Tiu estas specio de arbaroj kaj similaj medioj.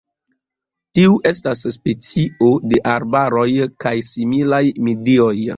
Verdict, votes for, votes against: accepted, 2, 0